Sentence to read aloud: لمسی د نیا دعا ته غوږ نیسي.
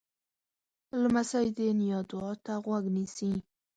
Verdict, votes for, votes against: accepted, 7, 0